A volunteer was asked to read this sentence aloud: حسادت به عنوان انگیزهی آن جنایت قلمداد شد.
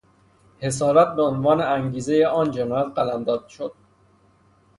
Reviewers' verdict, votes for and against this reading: rejected, 0, 3